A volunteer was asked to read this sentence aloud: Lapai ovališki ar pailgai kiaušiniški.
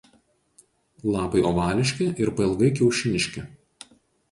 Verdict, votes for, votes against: rejected, 0, 4